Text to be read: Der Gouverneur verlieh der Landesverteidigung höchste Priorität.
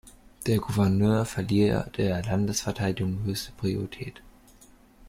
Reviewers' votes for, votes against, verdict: 1, 2, rejected